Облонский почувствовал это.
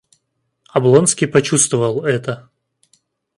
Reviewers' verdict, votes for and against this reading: accepted, 2, 0